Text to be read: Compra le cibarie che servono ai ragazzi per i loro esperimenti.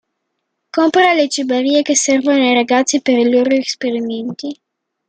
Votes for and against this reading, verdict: 1, 2, rejected